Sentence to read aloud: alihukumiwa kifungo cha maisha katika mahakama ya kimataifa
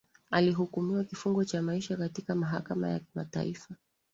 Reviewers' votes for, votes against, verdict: 2, 0, accepted